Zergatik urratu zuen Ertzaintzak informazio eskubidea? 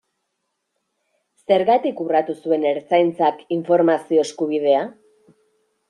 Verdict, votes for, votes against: accepted, 2, 0